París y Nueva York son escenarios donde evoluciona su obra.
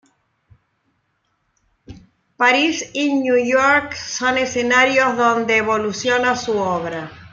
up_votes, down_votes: 1, 2